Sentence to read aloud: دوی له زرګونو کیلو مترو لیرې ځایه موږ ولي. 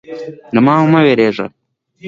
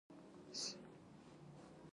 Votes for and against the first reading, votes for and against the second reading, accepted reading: 2, 0, 1, 2, first